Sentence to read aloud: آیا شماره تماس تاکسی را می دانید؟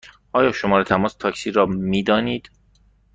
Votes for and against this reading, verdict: 2, 0, accepted